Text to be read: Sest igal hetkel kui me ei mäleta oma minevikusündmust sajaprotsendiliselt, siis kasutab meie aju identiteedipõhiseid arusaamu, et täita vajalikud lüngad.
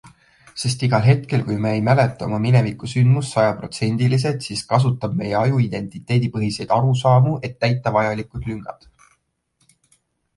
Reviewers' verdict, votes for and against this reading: accepted, 2, 0